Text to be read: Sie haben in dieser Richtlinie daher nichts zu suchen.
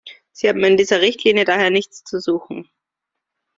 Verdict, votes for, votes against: accepted, 2, 0